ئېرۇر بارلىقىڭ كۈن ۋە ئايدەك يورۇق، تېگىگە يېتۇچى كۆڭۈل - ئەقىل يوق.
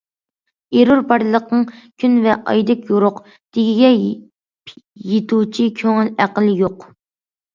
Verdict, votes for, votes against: rejected, 0, 2